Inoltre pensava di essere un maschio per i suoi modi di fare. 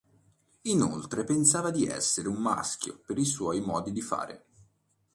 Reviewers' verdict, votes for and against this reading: accepted, 2, 0